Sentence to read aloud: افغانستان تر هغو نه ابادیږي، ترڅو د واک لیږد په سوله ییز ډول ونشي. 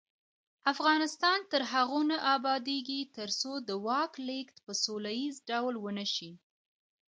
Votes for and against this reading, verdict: 1, 2, rejected